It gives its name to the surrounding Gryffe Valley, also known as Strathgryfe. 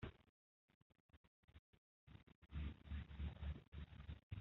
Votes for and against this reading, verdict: 0, 2, rejected